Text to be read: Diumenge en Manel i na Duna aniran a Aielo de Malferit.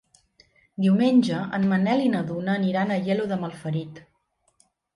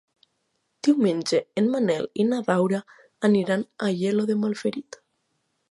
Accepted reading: first